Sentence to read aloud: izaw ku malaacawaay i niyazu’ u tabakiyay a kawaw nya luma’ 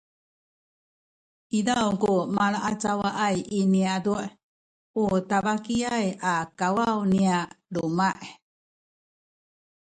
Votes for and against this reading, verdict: 1, 2, rejected